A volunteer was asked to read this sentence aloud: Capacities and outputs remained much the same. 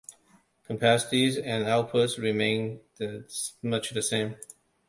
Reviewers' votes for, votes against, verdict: 1, 2, rejected